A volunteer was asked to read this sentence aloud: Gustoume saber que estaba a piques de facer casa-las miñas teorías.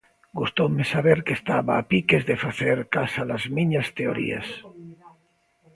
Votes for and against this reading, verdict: 2, 0, accepted